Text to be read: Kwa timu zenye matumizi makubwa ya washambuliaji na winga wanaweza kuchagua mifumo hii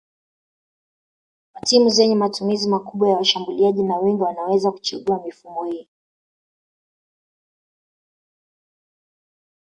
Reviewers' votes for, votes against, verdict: 1, 2, rejected